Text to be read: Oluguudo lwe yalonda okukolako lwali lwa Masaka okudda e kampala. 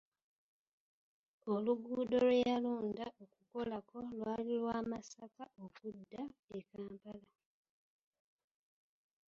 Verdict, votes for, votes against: rejected, 0, 2